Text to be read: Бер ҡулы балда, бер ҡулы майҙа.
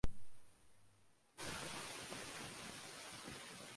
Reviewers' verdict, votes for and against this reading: rejected, 0, 2